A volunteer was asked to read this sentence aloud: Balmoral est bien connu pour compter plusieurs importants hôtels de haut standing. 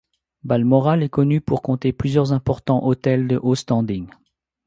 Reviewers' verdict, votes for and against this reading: rejected, 0, 2